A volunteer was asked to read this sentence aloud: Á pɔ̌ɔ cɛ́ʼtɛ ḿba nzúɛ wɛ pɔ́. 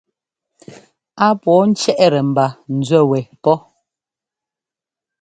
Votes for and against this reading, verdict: 2, 0, accepted